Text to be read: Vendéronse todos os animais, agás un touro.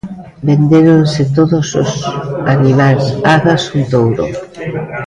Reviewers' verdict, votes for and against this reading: rejected, 0, 2